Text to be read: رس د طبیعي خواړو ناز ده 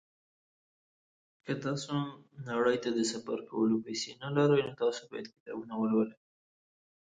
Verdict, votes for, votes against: rejected, 0, 2